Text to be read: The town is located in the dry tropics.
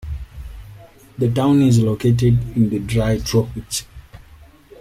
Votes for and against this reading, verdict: 2, 0, accepted